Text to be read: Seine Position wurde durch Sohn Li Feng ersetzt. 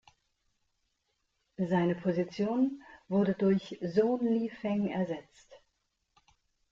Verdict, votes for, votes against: accepted, 2, 0